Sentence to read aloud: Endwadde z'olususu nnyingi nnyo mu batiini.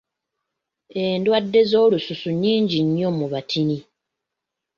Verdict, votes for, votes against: rejected, 1, 2